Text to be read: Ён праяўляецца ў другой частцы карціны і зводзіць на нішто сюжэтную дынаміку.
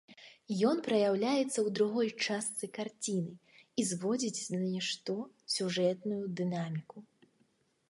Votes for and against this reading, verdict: 2, 0, accepted